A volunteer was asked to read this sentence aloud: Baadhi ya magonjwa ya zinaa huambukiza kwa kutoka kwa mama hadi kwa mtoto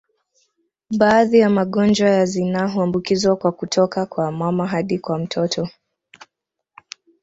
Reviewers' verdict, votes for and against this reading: accepted, 2, 1